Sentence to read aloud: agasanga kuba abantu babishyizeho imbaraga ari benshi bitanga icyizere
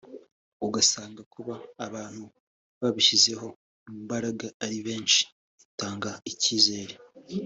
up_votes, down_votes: 3, 0